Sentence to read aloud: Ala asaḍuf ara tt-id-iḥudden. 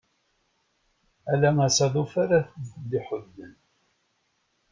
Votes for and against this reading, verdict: 0, 2, rejected